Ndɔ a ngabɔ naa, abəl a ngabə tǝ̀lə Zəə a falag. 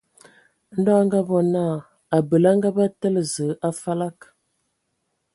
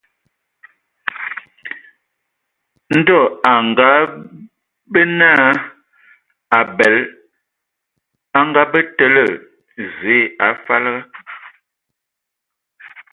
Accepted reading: first